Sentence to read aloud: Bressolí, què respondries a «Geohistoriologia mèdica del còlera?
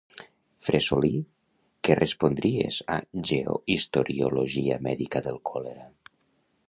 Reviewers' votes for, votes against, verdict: 1, 2, rejected